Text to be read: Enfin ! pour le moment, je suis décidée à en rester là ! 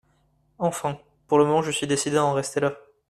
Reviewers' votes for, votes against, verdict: 2, 1, accepted